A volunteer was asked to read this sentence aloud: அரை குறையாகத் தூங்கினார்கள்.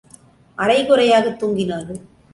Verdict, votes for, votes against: accepted, 2, 0